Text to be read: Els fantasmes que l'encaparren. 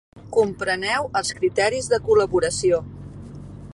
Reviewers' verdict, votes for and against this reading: rejected, 0, 2